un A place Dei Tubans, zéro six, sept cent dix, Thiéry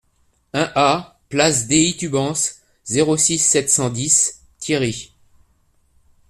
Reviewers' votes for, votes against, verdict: 2, 0, accepted